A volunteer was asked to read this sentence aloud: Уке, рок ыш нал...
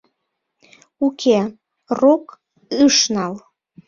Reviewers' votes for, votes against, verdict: 1, 2, rejected